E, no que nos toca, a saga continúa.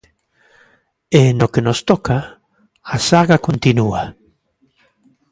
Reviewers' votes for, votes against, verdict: 2, 0, accepted